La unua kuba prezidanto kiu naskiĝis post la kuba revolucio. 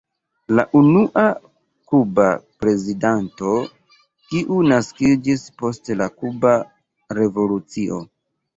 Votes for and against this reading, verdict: 0, 2, rejected